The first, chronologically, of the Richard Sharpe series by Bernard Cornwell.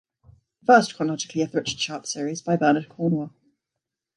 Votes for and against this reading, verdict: 1, 2, rejected